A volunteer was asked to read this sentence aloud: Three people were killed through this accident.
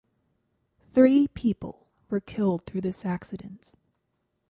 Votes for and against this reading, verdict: 2, 4, rejected